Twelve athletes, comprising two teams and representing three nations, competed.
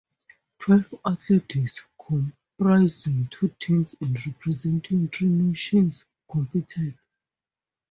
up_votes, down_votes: 0, 2